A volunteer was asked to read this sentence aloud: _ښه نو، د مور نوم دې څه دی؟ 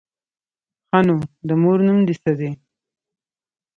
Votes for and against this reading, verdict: 3, 0, accepted